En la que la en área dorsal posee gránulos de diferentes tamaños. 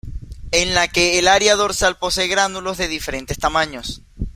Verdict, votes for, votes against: rejected, 1, 2